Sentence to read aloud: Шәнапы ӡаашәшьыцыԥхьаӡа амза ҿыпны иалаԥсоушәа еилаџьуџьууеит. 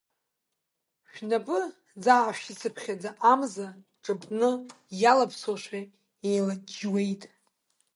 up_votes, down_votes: 1, 2